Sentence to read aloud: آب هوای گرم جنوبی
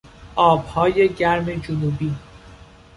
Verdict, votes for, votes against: rejected, 1, 2